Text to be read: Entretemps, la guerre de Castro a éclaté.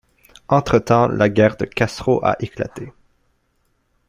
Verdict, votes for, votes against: accepted, 2, 0